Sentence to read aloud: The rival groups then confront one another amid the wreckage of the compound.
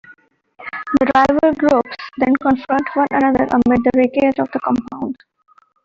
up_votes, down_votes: 1, 2